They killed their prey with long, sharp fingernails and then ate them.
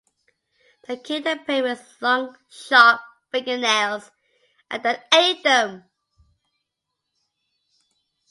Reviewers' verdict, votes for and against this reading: accepted, 2, 0